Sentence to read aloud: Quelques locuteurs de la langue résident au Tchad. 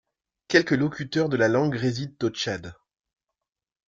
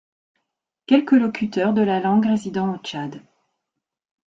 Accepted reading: first